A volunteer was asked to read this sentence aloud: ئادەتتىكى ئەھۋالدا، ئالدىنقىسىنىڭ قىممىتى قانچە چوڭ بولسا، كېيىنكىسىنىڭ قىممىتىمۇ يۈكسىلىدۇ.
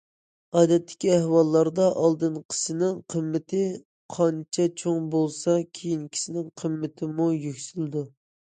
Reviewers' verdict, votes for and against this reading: rejected, 1, 2